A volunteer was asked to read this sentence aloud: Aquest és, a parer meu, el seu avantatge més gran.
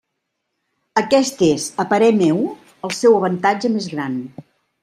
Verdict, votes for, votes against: accepted, 3, 0